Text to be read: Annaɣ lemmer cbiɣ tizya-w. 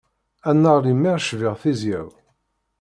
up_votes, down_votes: 2, 0